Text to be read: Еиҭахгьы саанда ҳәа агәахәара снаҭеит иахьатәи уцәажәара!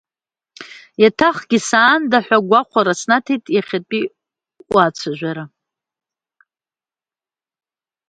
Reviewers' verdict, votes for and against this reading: rejected, 0, 2